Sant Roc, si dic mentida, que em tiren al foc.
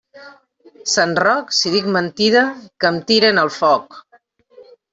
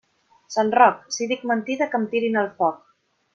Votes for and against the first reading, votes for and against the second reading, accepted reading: 2, 0, 0, 2, first